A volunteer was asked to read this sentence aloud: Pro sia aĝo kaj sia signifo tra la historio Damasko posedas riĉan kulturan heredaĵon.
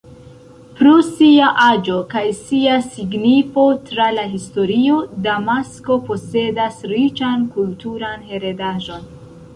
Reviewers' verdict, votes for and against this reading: rejected, 1, 2